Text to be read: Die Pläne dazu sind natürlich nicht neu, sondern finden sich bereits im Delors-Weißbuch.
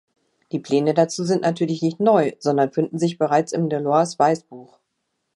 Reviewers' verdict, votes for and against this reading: accepted, 2, 0